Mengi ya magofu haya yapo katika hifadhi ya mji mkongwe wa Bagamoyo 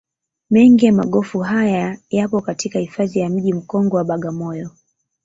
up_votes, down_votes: 2, 0